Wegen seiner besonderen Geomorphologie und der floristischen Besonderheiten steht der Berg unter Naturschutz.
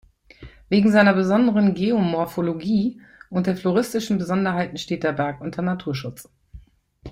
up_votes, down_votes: 2, 0